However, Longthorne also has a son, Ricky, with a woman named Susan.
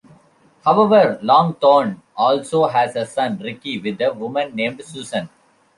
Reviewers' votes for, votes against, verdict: 2, 0, accepted